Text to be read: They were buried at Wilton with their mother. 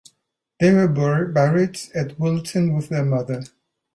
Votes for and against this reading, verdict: 1, 2, rejected